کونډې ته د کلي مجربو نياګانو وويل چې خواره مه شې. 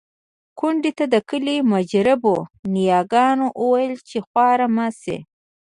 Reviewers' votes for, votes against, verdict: 1, 2, rejected